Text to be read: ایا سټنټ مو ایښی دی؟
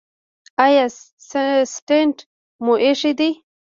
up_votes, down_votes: 1, 2